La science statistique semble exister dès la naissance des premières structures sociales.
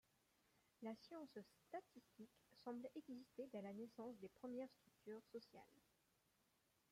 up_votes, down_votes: 2, 1